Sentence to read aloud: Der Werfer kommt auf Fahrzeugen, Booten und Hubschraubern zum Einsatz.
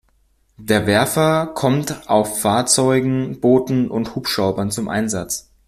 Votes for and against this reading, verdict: 2, 0, accepted